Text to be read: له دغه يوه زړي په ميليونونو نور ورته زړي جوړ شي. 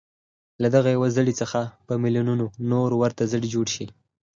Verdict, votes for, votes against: accepted, 4, 0